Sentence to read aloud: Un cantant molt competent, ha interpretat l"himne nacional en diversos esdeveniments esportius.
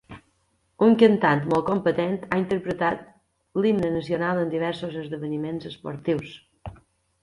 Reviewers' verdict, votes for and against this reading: accepted, 3, 0